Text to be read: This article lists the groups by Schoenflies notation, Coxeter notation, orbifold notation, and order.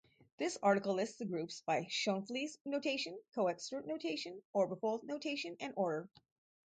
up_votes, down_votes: 2, 0